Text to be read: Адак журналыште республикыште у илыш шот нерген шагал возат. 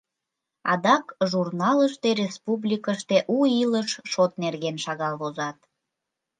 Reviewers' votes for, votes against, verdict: 2, 0, accepted